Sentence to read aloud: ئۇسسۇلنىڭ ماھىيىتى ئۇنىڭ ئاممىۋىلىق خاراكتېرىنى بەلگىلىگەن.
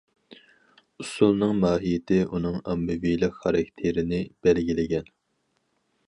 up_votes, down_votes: 4, 0